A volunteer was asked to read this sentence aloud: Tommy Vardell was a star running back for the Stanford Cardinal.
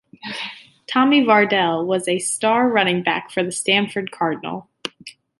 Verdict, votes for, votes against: accepted, 2, 0